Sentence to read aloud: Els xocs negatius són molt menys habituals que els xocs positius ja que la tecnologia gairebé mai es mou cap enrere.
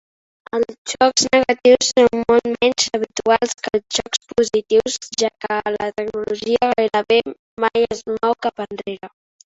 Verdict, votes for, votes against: rejected, 1, 2